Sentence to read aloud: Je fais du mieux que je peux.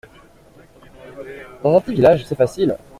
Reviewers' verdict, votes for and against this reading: rejected, 0, 2